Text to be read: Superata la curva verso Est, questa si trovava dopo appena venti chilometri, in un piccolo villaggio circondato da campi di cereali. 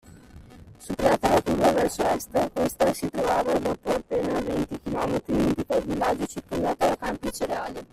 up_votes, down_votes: 0, 2